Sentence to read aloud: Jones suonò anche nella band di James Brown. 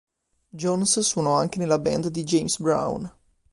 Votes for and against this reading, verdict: 2, 0, accepted